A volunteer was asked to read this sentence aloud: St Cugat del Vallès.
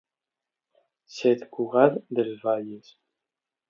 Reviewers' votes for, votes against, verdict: 0, 2, rejected